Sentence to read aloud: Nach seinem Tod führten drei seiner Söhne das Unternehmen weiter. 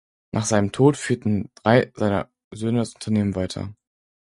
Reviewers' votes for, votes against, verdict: 4, 0, accepted